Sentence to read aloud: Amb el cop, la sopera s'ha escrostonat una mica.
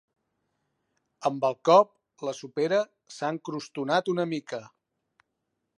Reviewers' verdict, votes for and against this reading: rejected, 1, 2